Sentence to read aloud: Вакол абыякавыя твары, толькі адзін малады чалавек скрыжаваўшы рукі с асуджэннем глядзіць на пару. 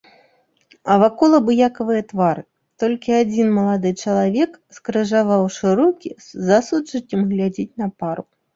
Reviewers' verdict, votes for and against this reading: rejected, 1, 2